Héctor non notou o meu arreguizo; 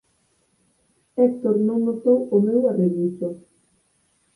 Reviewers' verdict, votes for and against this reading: accepted, 4, 0